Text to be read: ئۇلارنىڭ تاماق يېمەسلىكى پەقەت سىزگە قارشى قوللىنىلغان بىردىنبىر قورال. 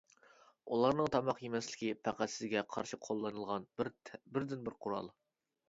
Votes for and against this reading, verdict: 1, 2, rejected